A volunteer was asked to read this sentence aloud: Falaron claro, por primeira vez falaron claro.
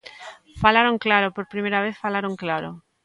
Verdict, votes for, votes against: accepted, 2, 0